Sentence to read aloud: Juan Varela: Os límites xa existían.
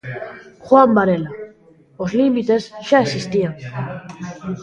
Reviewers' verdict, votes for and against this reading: accepted, 2, 0